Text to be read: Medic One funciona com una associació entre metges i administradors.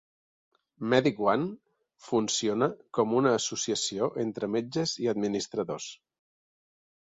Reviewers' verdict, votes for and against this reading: accepted, 2, 0